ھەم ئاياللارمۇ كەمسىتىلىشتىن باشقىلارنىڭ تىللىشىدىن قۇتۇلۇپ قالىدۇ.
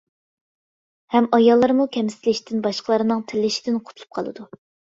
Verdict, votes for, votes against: accepted, 2, 1